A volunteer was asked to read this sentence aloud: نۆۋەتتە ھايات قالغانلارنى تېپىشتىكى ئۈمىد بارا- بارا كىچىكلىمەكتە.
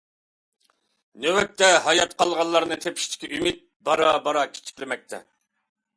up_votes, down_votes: 2, 0